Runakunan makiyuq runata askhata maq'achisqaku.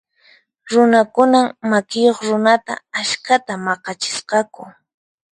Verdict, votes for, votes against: accepted, 4, 0